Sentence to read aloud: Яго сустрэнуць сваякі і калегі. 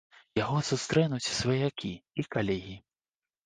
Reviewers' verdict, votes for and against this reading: accepted, 3, 0